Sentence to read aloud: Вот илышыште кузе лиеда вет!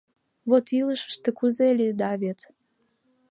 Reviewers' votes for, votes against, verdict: 2, 0, accepted